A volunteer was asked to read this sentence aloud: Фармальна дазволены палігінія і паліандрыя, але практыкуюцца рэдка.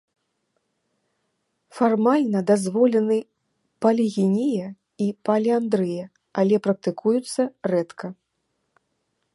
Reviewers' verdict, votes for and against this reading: accepted, 2, 0